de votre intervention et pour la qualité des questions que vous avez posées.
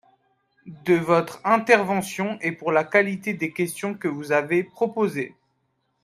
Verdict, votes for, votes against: rejected, 0, 2